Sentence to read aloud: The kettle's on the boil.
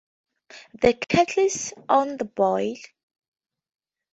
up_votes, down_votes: 2, 2